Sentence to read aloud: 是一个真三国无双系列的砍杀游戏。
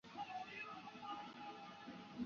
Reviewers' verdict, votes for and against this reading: rejected, 0, 2